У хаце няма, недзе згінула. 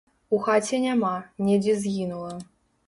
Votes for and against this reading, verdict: 2, 0, accepted